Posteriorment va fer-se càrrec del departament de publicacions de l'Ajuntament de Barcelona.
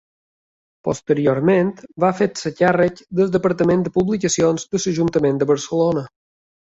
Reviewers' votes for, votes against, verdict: 2, 1, accepted